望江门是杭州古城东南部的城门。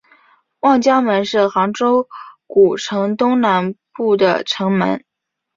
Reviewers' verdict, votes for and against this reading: accepted, 2, 0